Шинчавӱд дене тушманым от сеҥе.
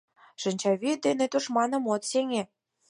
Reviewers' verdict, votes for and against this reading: accepted, 4, 0